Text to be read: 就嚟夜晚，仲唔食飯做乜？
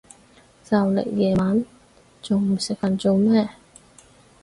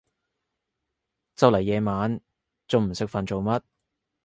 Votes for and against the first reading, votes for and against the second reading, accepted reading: 2, 4, 2, 0, second